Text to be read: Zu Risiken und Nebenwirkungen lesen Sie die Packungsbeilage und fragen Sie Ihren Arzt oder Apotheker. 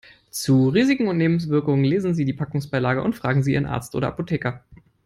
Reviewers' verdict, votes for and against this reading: rejected, 1, 3